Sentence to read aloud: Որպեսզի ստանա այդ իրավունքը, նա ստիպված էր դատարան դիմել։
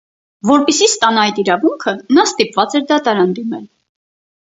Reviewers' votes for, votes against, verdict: 4, 0, accepted